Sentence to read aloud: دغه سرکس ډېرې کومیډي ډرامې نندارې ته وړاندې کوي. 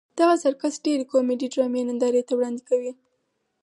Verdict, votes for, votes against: accepted, 4, 2